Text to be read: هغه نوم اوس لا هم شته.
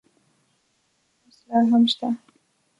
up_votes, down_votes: 0, 2